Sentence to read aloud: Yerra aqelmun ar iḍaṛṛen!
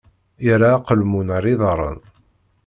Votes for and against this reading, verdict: 2, 0, accepted